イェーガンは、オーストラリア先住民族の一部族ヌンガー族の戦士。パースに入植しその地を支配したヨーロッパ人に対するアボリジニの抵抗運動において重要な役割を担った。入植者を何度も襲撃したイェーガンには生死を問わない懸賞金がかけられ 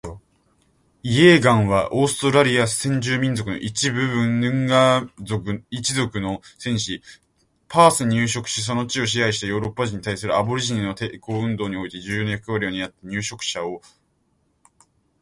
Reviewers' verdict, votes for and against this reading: rejected, 0, 2